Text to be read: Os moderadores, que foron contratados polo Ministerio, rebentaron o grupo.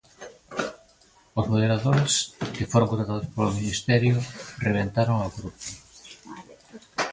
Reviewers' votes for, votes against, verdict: 0, 2, rejected